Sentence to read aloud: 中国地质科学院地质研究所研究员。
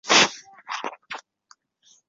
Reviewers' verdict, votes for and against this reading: rejected, 0, 3